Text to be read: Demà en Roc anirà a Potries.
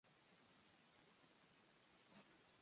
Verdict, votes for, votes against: rejected, 1, 2